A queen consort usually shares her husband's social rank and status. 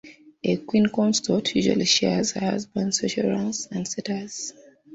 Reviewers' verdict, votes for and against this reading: accepted, 2, 1